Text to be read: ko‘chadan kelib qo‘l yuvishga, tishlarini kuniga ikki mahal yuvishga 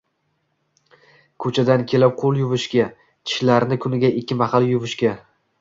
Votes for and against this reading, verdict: 1, 2, rejected